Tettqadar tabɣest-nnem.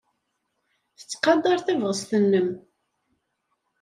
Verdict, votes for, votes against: accepted, 2, 0